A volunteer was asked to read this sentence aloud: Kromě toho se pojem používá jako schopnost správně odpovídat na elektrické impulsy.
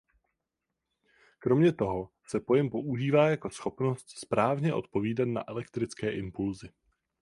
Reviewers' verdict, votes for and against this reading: accepted, 4, 0